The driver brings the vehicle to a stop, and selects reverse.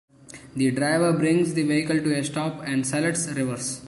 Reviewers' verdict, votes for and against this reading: rejected, 1, 2